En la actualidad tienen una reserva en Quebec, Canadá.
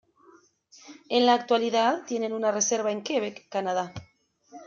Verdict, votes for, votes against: accepted, 2, 0